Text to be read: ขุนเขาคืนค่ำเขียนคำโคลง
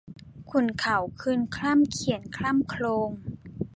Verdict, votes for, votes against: rejected, 0, 2